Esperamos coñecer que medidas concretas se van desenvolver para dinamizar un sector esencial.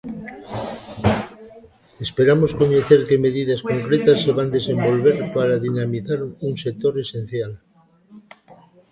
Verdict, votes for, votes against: rejected, 1, 2